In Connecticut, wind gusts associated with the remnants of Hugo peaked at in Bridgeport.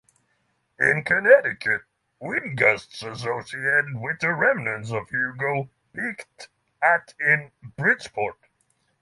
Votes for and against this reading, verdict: 6, 0, accepted